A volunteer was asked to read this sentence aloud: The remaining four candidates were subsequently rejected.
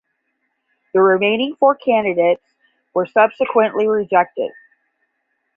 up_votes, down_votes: 5, 0